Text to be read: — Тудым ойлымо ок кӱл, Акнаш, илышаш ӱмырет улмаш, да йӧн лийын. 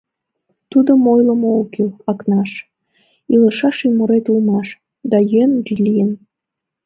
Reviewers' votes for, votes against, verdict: 2, 0, accepted